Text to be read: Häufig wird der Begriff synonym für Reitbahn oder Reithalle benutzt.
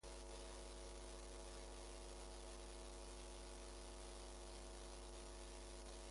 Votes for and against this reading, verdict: 0, 2, rejected